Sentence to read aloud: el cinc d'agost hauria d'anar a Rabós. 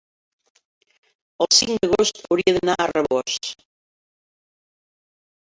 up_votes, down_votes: 2, 3